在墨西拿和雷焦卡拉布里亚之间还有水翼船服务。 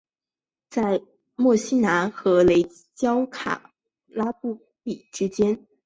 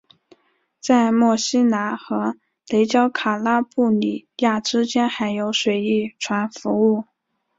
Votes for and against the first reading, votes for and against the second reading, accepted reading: 0, 5, 3, 1, second